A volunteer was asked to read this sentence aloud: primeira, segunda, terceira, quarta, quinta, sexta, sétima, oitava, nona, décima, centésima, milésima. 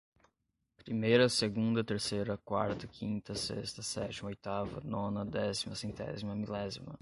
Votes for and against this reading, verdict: 5, 0, accepted